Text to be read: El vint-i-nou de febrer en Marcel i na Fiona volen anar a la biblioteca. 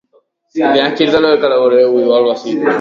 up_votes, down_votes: 0, 2